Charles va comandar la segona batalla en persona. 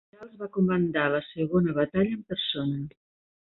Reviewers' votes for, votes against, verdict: 1, 2, rejected